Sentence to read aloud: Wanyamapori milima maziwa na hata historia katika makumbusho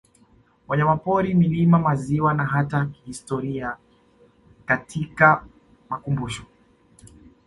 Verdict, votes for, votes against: accepted, 2, 0